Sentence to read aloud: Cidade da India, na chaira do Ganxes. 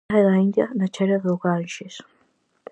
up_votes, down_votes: 0, 4